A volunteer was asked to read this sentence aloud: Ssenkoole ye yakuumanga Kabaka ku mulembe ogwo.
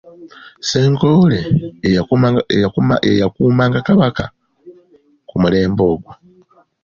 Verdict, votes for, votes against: rejected, 1, 2